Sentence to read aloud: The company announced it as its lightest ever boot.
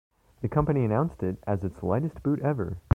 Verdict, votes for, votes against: rejected, 0, 2